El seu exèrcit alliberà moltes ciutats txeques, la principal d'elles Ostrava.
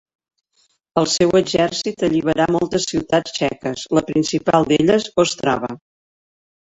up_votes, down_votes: 2, 0